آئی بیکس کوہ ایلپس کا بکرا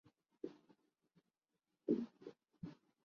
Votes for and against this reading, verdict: 0, 2, rejected